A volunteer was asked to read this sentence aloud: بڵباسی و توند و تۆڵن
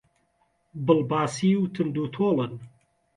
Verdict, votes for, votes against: accepted, 2, 0